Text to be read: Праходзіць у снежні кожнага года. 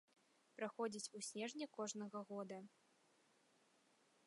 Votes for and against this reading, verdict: 2, 0, accepted